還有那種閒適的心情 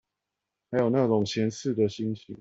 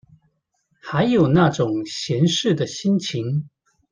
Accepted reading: second